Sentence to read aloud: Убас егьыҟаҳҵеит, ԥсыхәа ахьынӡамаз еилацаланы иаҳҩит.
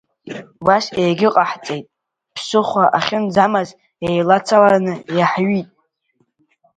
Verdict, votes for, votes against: rejected, 1, 2